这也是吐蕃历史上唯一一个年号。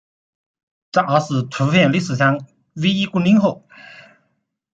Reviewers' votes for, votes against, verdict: 0, 2, rejected